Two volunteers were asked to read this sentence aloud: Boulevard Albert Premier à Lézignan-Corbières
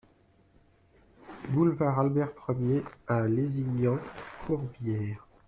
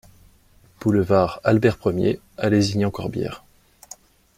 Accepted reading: second